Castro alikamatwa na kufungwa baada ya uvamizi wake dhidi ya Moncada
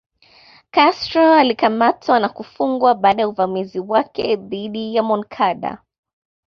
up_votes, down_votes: 2, 1